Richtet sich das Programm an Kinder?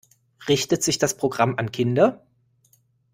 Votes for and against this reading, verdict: 2, 0, accepted